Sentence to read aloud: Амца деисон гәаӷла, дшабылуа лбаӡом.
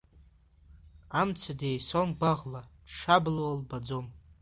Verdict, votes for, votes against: rejected, 1, 2